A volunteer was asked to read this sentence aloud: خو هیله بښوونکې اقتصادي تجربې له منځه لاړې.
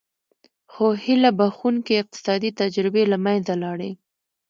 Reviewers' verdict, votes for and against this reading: accepted, 2, 0